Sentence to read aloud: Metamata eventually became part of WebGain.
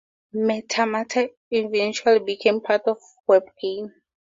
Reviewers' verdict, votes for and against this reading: accepted, 4, 0